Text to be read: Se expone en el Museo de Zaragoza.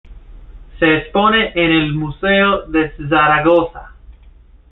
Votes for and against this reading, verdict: 2, 0, accepted